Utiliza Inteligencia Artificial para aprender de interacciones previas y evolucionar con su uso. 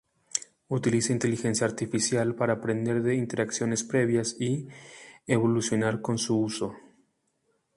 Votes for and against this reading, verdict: 0, 2, rejected